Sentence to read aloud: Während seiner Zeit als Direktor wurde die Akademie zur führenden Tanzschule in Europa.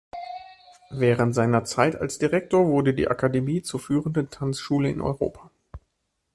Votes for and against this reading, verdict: 2, 0, accepted